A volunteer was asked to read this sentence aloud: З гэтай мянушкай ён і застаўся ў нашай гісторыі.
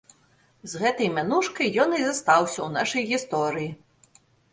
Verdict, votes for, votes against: accepted, 2, 0